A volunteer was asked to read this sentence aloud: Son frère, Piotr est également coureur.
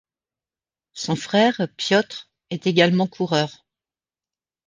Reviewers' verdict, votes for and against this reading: accepted, 2, 0